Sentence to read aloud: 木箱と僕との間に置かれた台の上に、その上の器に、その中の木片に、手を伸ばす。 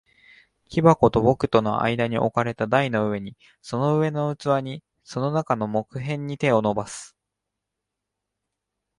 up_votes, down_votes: 2, 0